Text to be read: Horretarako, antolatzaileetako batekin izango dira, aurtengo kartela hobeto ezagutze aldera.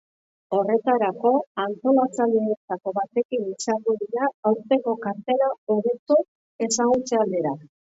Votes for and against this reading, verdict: 0, 2, rejected